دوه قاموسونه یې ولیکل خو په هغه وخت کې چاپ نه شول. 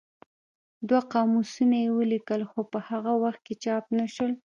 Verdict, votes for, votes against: rejected, 0, 2